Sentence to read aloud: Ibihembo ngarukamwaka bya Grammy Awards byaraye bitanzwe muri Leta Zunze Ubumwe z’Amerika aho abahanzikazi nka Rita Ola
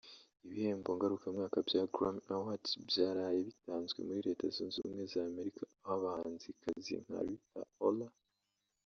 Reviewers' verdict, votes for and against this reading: rejected, 0, 2